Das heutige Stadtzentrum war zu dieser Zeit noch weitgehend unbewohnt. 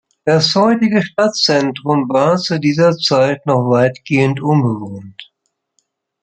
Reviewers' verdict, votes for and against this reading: accepted, 2, 0